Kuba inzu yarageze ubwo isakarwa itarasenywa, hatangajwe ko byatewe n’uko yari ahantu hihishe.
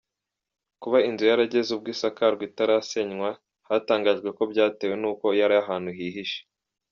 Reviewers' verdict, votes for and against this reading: accepted, 2, 0